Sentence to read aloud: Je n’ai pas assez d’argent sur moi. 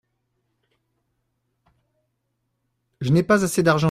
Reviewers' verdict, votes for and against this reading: rejected, 0, 2